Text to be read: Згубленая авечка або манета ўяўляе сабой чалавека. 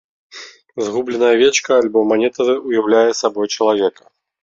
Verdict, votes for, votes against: rejected, 0, 2